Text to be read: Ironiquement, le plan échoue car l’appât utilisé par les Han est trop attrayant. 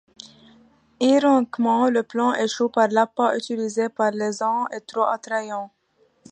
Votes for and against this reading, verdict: 1, 2, rejected